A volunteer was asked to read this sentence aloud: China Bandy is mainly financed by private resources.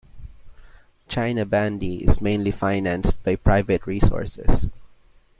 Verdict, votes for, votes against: accepted, 2, 0